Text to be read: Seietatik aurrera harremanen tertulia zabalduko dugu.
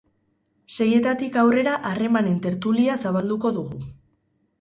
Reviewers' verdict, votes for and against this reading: accepted, 6, 0